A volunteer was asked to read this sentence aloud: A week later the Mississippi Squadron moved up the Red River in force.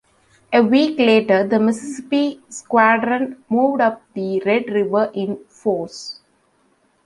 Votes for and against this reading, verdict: 1, 2, rejected